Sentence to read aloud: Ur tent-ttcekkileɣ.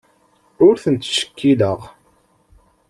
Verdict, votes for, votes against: accepted, 2, 0